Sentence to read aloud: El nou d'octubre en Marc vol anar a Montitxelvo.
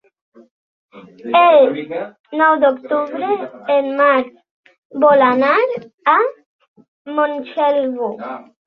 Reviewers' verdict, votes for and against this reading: rejected, 0, 2